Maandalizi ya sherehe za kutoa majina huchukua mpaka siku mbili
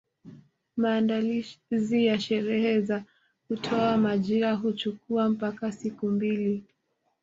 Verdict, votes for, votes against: accepted, 2, 1